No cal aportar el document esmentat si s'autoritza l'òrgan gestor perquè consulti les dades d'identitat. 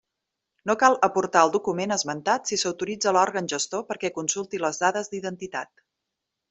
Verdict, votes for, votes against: accepted, 3, 0